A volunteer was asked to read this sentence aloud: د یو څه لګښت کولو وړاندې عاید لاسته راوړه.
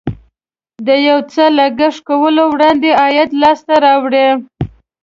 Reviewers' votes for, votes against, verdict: 2, 0, accepted